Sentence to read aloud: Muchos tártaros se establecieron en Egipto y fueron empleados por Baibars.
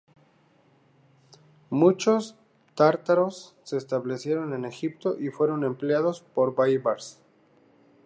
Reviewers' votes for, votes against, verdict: 4, 0, accepted